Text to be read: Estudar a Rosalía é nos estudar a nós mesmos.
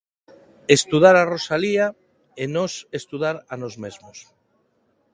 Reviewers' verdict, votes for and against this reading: accepted, 2, 0